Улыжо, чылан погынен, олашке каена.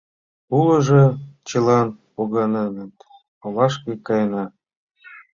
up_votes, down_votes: 0, 2